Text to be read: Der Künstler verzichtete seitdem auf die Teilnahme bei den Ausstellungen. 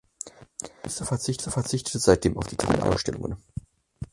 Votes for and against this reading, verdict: 0, 4, rejected